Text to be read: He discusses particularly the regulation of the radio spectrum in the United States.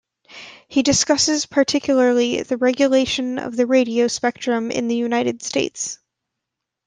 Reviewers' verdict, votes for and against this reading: rejected, 1, 2